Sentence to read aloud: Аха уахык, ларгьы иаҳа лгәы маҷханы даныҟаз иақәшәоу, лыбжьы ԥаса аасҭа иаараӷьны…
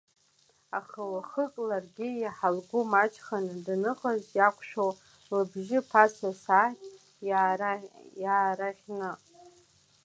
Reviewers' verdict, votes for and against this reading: rejected, 0, 2